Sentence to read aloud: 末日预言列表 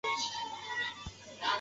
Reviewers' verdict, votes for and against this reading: rejected, 2, 3